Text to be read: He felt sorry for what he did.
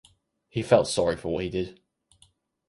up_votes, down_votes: 4, 0